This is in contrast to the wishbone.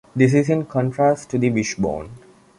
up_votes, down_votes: 2, 0